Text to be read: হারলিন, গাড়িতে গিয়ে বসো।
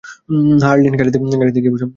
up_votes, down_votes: 0, 2